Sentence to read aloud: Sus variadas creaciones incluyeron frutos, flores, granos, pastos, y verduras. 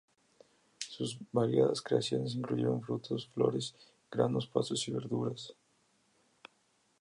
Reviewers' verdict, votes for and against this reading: accepted, 2, 0